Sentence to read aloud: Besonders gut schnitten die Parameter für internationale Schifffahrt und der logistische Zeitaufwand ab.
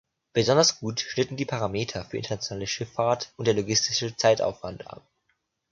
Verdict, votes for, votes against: accepted, 2, 0